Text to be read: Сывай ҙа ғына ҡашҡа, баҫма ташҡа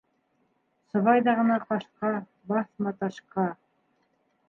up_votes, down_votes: 0, 2